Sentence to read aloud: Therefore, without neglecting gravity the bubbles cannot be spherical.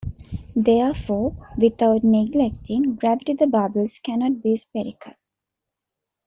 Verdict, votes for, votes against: accepted, 2, 0